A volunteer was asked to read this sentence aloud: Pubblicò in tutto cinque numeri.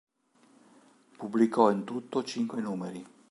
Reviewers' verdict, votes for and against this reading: accepted, 2, 0